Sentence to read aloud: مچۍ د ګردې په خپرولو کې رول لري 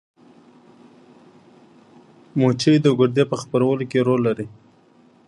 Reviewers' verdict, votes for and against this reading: rejected, 0, 2